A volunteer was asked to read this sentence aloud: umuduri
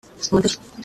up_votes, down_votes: 0, 2